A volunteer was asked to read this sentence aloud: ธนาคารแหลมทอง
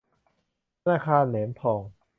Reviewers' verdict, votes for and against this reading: accepted, 2, 0